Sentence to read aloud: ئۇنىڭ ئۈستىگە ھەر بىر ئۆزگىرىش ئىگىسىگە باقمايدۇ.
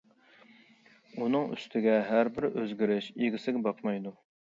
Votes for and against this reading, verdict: 2, 0, accepted